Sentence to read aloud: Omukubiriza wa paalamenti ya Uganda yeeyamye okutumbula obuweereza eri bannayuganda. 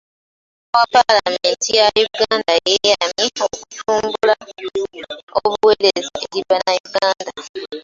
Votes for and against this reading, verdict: 0, 2, rejected